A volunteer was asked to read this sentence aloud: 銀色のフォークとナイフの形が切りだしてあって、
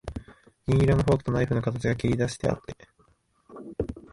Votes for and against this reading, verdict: 2, 1, accepted